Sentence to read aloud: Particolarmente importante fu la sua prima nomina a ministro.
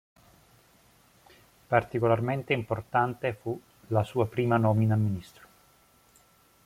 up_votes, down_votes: 2, 0